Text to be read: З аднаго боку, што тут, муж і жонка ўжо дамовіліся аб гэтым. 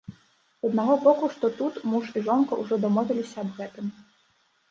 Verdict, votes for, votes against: rejected, 1, 2